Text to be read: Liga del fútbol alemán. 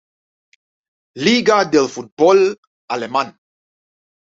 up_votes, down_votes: 2, 1